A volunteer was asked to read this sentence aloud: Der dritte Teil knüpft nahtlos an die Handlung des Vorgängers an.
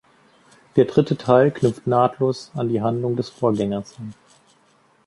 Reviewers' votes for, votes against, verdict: 2, 0, accepted